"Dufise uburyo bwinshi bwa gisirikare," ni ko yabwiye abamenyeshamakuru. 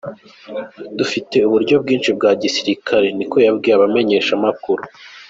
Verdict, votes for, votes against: rejected, 1, 2